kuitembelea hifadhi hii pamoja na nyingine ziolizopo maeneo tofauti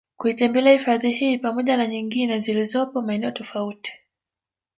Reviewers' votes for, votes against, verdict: 3, 2, accepted